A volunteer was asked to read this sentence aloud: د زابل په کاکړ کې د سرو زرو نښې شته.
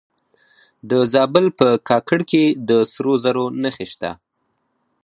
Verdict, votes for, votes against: rejected, 0, 4